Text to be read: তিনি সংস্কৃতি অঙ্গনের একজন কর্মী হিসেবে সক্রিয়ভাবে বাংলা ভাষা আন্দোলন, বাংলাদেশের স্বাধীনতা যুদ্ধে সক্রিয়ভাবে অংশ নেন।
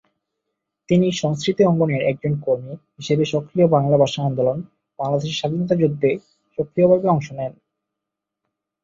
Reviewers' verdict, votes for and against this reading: rejected, 0, 2